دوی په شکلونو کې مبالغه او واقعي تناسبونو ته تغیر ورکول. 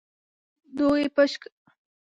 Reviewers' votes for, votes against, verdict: 0, 2, rejected